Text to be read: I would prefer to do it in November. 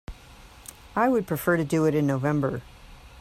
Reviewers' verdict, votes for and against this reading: accepted, 2, 0